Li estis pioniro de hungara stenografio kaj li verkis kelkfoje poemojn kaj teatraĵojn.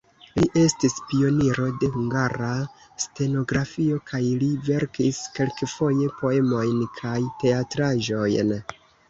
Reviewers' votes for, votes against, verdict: 0, 2, rejected